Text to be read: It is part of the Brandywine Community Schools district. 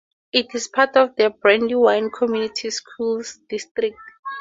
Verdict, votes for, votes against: accepted, 2, 0